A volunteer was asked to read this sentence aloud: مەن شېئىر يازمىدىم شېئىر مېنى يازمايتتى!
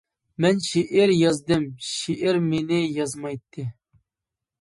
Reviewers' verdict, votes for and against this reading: rejected, 0, 2